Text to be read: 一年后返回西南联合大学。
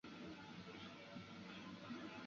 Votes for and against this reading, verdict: 0, 2, rejected